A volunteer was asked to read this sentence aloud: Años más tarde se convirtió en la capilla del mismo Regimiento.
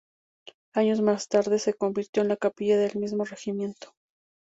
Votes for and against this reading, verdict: 2, 0, accepted